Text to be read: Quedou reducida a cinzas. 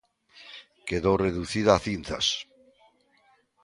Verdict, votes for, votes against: accepted, 2, 0